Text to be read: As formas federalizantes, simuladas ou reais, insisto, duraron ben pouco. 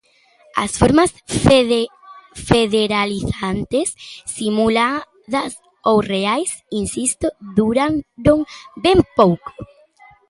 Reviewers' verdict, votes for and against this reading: rejected, 0, 2